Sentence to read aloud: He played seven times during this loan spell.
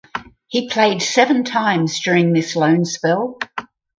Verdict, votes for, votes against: accepted, 4, 0